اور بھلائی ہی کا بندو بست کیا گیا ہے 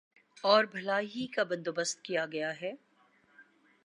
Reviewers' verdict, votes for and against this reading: accepted, 2, 0